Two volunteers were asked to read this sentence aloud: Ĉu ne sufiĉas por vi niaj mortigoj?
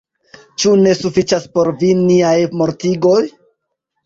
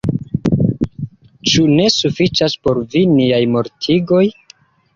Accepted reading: second